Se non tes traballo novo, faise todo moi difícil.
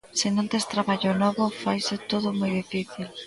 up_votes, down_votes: 0, 2